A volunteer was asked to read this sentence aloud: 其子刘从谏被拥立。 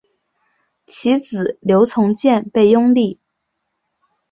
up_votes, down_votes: 2, 0